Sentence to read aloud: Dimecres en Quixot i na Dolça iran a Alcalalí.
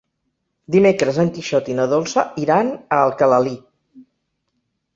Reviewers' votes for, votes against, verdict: 2, 0, accepted